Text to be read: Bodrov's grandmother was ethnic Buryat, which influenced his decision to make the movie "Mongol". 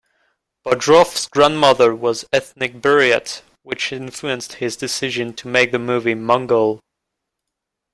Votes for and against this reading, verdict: 2, 0, accepted